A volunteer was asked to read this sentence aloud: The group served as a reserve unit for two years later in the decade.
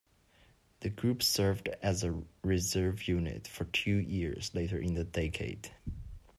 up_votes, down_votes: 2, 0